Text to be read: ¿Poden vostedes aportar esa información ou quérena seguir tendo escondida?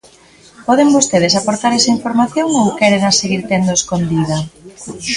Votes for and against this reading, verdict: 2, 0, accepted